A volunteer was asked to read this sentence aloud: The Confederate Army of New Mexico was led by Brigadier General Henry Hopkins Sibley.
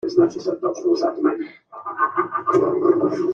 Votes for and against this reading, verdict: 0, 2, rejected